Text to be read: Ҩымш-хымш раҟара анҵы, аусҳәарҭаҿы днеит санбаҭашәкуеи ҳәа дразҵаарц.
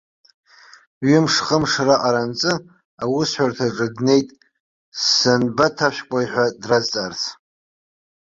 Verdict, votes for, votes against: accepted, 2, 0